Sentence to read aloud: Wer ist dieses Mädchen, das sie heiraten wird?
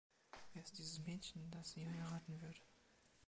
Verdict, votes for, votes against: accepted, 2, 0